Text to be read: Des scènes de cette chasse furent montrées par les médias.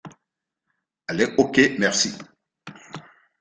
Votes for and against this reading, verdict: 0, 2, rejected